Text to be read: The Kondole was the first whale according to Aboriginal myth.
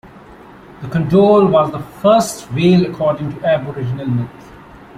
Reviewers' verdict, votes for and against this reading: rejected, 1, 2